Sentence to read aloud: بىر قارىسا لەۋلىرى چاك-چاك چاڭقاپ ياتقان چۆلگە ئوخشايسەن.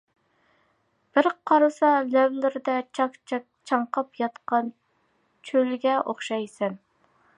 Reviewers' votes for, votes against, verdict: 0, 2, rejected